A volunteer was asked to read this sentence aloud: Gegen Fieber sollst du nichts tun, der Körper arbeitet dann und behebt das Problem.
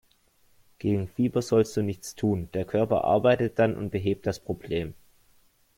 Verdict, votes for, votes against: accepted, 2, 0